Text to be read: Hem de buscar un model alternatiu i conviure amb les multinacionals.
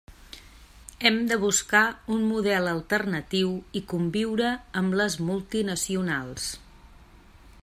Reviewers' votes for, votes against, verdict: 3, 0, accepted